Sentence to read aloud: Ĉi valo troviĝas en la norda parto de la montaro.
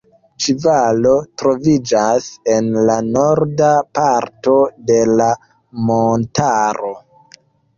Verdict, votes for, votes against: accepted, 2, 0